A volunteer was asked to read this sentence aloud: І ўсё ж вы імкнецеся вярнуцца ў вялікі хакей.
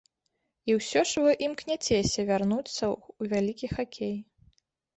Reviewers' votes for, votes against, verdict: 1, 2, rejected